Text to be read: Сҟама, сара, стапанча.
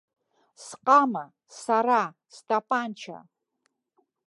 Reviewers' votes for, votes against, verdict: 2, 0, accepted